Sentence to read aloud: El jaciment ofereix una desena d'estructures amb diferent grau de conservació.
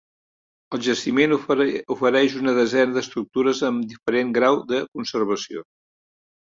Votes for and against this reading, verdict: 1, 2, rejected